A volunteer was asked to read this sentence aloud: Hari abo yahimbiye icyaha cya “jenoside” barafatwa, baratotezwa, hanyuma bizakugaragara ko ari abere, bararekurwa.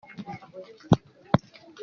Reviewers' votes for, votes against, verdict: 0, 2, rejected